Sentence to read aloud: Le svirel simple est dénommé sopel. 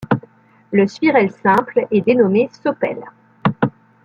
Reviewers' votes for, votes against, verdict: 2, 0, accepted